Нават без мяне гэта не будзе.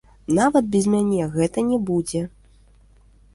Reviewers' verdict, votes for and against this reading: accepted, 2, 0